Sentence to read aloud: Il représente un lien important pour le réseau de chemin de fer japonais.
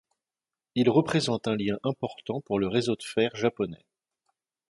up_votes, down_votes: 1, 2